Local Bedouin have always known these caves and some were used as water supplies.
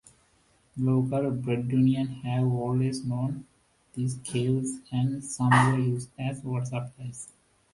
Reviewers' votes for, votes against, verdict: 0, 2, rejected